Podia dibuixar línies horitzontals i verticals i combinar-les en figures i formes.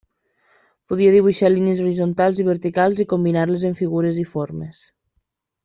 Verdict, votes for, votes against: accepted, 2, 0